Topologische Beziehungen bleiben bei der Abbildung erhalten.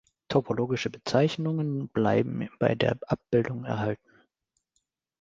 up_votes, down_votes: 1, 3